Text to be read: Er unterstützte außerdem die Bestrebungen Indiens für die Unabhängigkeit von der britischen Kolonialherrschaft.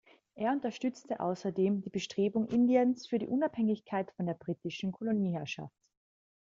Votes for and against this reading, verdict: 1, 2, rejected